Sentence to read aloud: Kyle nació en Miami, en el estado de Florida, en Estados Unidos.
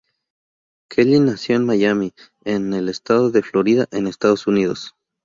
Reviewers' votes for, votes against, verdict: 6, 0, accepted